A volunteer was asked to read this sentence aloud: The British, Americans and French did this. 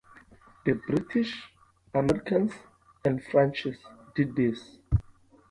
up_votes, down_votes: 2, 0